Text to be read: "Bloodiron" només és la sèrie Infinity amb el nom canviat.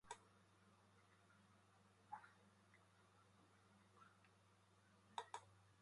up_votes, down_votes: 0, 2